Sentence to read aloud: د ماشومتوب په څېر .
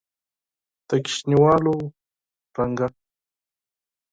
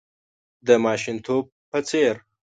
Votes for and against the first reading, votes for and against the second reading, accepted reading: 2, 4, 2, 0, second